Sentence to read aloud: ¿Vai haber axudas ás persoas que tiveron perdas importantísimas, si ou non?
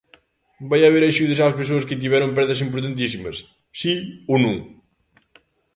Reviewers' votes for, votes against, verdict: 2, 0, accepted